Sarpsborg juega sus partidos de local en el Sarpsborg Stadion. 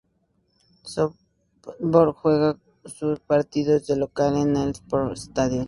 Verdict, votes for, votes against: rejected, 0, 2